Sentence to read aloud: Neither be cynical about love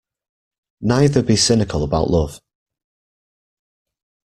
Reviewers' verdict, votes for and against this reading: accepted, 2, 0